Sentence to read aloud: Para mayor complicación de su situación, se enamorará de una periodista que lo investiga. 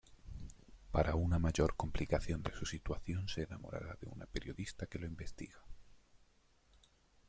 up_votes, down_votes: 1, 2